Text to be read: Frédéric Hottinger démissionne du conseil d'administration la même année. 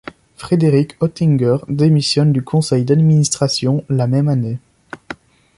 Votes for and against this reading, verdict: 2, 0, accepted